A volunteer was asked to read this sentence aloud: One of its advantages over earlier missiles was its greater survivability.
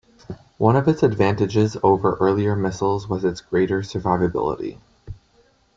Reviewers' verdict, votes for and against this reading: accepted, 2, 0